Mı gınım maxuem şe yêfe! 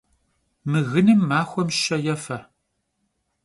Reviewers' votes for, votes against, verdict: 2, 0, accepted